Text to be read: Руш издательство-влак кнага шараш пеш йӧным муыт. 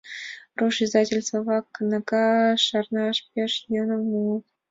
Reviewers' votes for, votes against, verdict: 2, 0, accepted